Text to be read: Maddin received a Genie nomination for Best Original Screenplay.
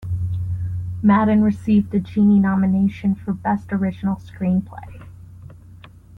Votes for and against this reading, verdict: 2, 0, accepted